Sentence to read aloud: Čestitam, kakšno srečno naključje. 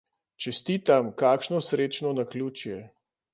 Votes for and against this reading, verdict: 2, 0, accepted